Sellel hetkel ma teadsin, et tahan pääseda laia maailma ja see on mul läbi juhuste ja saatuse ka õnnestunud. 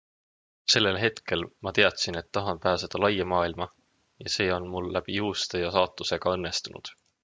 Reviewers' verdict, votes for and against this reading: accepted, 2, 0